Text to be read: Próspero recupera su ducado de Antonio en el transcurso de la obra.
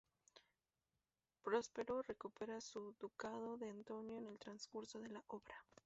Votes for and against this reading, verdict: 0, 2, rejected